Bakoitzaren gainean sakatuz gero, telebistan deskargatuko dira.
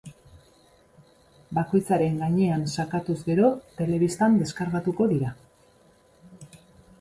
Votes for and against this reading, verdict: 2, 0, accepted